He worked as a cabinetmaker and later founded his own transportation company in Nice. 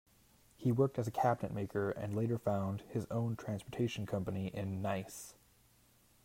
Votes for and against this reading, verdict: 0, 2, rejected